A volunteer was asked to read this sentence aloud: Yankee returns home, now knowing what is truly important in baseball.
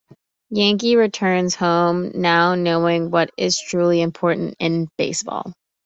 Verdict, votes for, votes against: accepted, 2, 0